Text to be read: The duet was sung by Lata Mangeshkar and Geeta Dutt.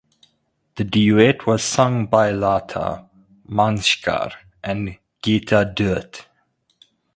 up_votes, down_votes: 2, 0